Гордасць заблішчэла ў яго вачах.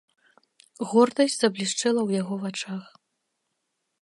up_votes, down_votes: 2, 0